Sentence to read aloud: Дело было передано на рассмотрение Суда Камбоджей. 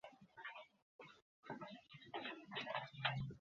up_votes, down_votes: 0, 2